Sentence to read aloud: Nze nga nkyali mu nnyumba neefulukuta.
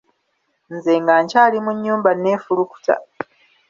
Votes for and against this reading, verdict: 2, 0, accepted